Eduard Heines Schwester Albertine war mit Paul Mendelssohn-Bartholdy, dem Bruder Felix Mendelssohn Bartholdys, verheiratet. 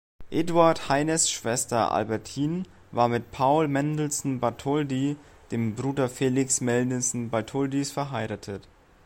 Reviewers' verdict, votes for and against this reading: accepted, 2, 0